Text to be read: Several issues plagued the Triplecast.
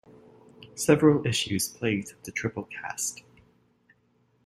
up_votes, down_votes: 2, 0